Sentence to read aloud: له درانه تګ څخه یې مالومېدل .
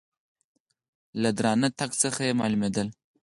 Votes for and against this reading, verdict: 4, 0, accepted